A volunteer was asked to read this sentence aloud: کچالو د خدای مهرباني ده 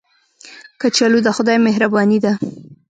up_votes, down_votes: 1, 2